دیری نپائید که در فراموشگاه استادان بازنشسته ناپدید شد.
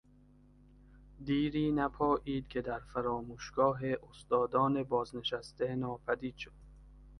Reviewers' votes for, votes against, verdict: 2, 0, accepted